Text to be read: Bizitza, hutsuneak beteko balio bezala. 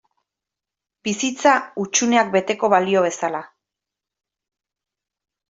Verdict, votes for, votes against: accepted, 2, 0